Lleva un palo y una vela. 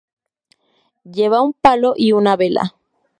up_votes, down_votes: 4, 0